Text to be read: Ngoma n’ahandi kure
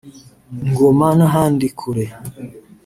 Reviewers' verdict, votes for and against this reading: rejected, 0, 2